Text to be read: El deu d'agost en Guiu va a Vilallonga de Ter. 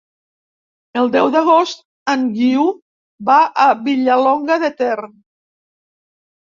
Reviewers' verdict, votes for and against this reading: rejected, 2, 3